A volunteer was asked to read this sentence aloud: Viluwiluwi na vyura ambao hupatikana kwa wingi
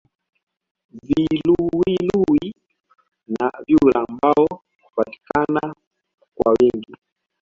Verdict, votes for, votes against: accepted, 2, 1